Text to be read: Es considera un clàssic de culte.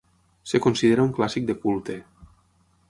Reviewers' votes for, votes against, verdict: 3, 6, rejected